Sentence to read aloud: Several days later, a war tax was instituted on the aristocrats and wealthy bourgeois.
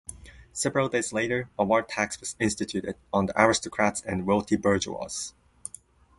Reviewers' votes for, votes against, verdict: 2, 0, accepted